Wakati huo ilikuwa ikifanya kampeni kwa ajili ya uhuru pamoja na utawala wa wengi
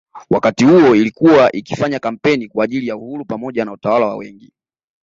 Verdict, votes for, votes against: accepted, 2, 0